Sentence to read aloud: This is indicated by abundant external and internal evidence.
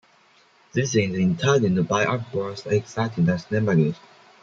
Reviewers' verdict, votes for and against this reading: rejected, 0, 2